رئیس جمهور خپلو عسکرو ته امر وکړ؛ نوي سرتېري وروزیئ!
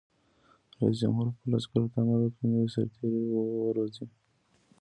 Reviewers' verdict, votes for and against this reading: rejected, 0, 2